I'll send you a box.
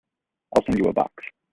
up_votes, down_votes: 0, 2